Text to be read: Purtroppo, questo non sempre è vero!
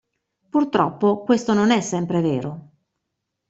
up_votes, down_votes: 0, 2